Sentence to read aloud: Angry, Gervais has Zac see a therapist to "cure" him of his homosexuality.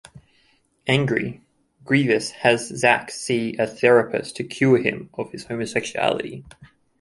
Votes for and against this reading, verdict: 0, 2, rejected